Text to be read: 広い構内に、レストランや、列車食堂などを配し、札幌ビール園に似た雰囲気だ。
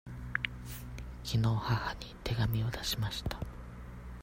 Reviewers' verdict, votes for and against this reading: rejected, 0, 2